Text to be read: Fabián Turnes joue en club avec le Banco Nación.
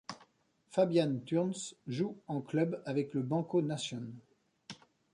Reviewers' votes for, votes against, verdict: 0, 2, rejected